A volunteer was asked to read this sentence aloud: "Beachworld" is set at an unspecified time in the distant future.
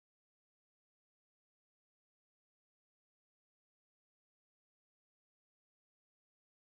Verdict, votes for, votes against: rejected, 0, 2